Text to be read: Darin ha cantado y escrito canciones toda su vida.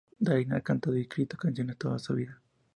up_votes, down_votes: 2, 0